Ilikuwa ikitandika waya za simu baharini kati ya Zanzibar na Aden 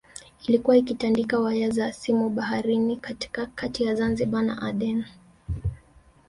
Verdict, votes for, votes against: accepted, 2, 0